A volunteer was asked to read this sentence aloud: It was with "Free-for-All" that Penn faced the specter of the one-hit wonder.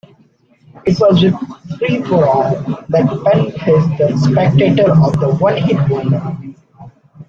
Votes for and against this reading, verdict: 0, 2, rejected